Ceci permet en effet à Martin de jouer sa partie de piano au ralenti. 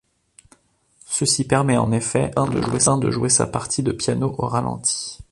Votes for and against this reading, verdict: 0, 2, rejected